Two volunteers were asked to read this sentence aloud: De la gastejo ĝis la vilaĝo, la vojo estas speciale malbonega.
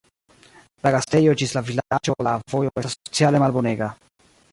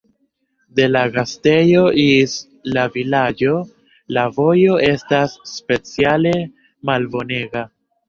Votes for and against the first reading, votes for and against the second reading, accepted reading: 2, 3, 2, 1, second